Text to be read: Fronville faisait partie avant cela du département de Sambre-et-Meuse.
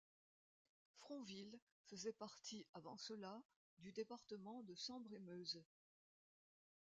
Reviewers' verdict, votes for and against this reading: rejected, 1, 2